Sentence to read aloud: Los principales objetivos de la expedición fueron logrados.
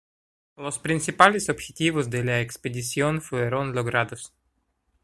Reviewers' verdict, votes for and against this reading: accepted, 2, 0